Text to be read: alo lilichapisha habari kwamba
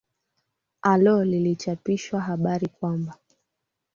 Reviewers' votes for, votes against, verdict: 2, 1, accepted